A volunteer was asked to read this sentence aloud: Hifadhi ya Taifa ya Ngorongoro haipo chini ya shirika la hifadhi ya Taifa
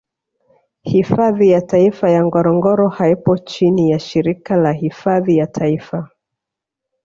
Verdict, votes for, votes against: rejected, 1, 2